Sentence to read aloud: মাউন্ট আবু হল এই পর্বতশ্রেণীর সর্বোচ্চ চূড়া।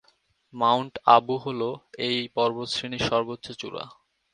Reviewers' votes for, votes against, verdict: 12, 0, accepted